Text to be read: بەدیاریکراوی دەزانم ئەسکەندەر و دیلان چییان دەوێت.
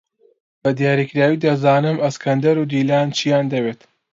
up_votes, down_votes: 2, 0